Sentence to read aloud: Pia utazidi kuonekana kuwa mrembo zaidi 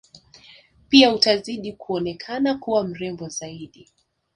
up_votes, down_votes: 5, 0